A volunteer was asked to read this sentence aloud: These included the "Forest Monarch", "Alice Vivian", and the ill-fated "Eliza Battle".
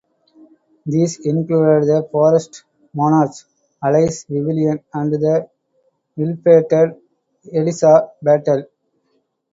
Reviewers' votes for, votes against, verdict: 2, 0, accepted